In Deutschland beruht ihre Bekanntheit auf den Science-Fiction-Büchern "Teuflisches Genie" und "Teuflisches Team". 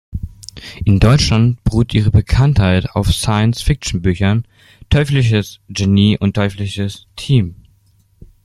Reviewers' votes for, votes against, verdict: 1, 2, rejected